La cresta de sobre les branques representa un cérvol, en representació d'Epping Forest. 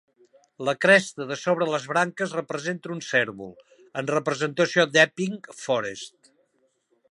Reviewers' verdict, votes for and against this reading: accepted, 3, 0